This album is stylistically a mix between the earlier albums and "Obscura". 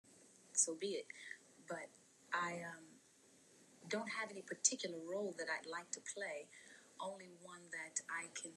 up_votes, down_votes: 0, 2